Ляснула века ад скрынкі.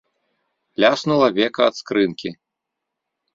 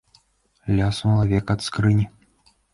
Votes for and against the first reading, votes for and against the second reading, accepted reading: 2, 0, 0, 2, first